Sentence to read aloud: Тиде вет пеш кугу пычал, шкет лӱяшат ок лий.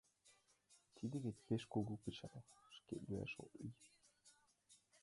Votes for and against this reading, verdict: 2, 1, accepted